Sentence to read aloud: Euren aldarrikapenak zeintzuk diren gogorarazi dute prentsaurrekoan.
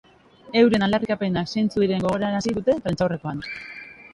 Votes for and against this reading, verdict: 0, 2, rejected